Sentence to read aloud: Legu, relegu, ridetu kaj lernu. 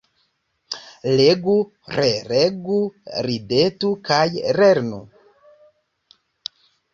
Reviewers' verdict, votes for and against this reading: accepted, 2, 0